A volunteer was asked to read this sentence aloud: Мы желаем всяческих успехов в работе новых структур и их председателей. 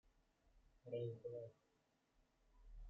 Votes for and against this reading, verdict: 0, 2, rejected